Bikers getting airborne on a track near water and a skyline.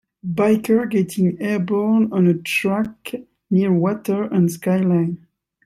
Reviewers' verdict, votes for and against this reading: rejected, 0, 2